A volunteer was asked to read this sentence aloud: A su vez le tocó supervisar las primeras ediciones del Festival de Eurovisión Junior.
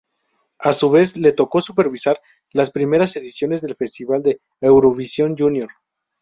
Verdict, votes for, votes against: accepted, 2, 0